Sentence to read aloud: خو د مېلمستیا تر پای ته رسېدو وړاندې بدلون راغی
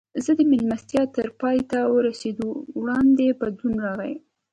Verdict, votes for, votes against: accepted, 2, 0